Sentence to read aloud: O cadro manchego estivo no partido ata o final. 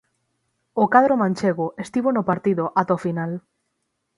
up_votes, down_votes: 6, 0